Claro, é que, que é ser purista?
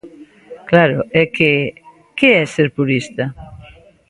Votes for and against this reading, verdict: 2, 0, accepted